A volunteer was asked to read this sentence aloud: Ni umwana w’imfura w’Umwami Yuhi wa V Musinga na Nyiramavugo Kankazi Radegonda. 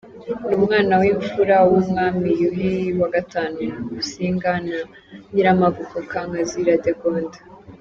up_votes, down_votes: 2, 1